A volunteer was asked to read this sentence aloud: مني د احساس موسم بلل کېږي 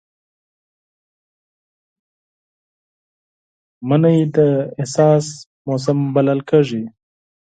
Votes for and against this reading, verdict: 4, 2, accepted